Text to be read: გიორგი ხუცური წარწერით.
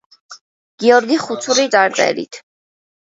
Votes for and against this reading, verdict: 1, 2, rejected